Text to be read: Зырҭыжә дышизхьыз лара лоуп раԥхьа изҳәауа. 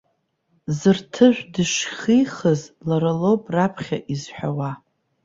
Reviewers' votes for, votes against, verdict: 0, 2, rejected